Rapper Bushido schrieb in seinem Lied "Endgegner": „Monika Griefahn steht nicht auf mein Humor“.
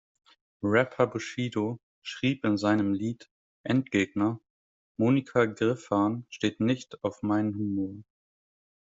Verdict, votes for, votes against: rejected, 1, 2